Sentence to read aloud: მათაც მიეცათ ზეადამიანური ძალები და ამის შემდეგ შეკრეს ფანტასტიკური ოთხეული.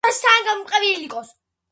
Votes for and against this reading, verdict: 0, 2, rejected